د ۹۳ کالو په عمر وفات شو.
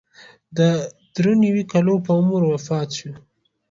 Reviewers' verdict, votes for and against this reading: rejected, 0, 2